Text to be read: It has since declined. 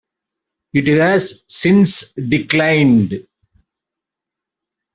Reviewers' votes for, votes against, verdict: 2, 0, accepted